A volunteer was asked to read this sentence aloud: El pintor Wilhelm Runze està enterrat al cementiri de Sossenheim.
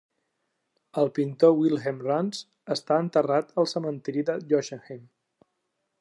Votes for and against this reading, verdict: 1, 2, rejected